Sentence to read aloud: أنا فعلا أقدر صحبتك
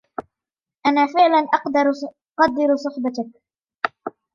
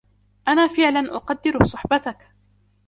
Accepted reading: second